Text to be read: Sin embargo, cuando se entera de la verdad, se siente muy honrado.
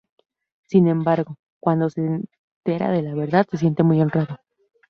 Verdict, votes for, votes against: accepted, 2, 0